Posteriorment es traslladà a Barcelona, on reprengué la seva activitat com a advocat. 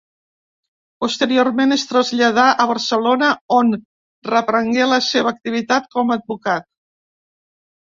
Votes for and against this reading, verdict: 2, 0, accepted